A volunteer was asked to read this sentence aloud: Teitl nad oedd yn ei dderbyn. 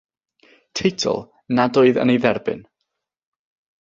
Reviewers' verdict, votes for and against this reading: accepted, 6, 0